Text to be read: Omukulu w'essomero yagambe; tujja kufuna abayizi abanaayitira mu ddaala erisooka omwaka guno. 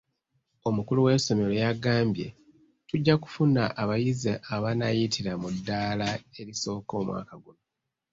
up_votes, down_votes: 2, 0